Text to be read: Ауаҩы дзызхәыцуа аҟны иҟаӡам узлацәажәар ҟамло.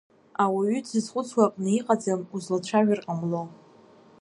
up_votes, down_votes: 0, 2